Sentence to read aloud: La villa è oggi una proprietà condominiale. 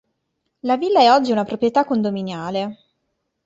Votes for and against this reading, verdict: 2, 0, accepted